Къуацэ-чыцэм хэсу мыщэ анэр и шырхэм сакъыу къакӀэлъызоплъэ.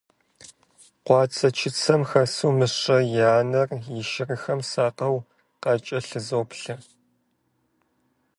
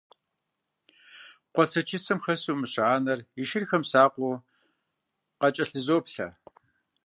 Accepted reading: second